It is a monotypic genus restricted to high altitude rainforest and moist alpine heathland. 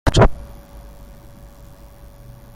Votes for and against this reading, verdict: 0, 2, rejected